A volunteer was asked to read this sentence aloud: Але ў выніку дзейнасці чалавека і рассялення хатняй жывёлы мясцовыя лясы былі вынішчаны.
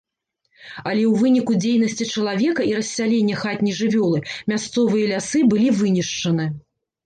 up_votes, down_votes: 2, 0